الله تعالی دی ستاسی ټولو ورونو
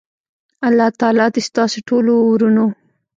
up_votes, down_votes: 1, 2